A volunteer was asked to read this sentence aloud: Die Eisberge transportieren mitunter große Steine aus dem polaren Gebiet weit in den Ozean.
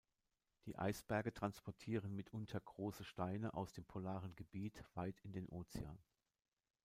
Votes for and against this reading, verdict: 2, 0, accepted